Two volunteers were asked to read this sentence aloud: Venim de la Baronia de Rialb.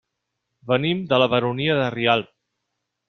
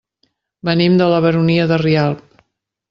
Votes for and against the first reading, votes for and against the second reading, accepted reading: 2, 0, 0, 2, first